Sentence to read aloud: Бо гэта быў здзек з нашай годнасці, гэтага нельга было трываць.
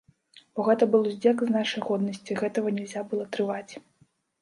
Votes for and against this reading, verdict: 1, 2, rejected